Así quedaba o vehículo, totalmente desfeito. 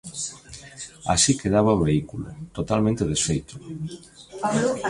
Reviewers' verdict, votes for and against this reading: rejected, 0, 2